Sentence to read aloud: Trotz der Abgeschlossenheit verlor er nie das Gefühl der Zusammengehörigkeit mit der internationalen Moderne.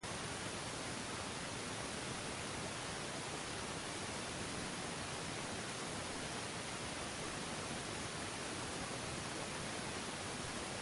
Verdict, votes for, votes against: rejected, 0, 2